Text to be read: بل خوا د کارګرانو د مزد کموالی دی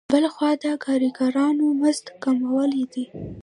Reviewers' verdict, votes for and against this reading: accepted, 2, 1